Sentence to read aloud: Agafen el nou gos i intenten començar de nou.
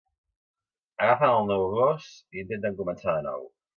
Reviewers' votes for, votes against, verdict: 2, 1, accepted